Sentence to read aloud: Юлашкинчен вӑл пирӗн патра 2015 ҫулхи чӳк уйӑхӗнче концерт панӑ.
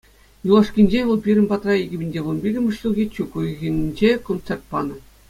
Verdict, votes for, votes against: rejected, 0, 2